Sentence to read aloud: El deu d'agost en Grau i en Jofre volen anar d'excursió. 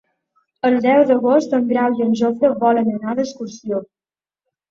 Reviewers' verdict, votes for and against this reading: accepted, 2, 0